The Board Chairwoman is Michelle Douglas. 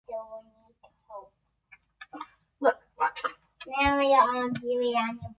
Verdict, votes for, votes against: rejected, 0, 2